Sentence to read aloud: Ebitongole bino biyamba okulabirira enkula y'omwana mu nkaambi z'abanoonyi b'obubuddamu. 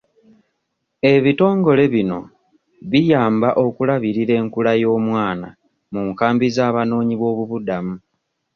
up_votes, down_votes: 2, 0